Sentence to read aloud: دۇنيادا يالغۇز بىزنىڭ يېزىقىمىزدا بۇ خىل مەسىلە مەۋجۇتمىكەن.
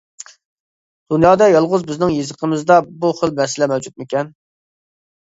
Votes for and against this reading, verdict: 2, 0, accepted